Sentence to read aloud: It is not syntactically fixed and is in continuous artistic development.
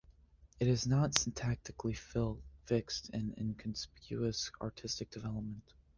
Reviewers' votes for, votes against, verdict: 0, 2, rejected